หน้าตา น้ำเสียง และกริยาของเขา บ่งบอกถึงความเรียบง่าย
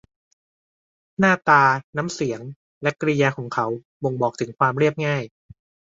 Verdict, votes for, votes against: accepted, 2, 0